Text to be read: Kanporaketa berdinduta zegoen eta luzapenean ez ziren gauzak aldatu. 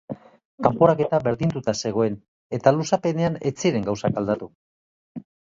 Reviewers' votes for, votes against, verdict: 2, 0, accepted